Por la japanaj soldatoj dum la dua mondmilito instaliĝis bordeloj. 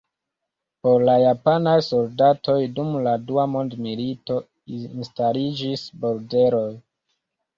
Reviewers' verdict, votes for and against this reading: rejected, 0, 2